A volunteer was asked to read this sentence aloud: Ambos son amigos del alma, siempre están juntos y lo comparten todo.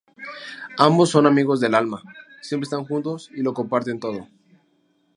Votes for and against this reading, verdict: 0, 2, rejected